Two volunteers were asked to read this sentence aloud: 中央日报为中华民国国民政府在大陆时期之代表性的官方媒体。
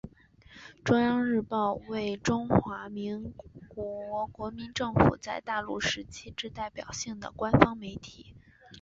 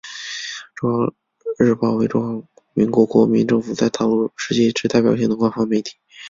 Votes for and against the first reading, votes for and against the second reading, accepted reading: 2, 1, 0, 2, first